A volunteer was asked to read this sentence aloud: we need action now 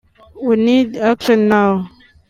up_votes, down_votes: 1, 2